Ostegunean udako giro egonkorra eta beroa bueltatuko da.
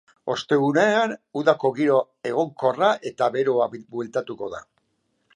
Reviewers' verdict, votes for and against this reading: rejected, 0, 2